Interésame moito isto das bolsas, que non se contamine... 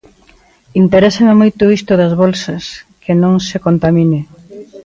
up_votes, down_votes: 2, 1